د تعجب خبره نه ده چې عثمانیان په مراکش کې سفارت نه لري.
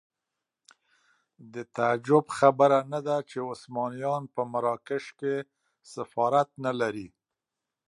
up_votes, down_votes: 2, 0